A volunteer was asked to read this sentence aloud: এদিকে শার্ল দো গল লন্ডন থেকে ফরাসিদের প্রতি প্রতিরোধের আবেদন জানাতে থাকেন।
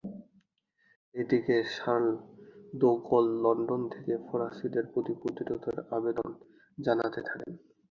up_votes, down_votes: 2, 2